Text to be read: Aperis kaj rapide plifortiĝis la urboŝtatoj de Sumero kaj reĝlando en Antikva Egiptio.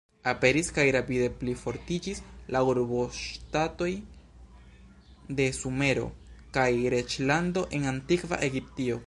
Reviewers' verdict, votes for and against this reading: accepted, 2, 1